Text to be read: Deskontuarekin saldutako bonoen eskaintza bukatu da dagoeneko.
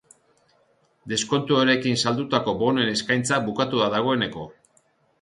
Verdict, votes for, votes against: accepted, 2, 0